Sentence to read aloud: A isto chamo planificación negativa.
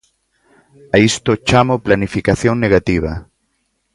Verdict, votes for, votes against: accepted, 2, 0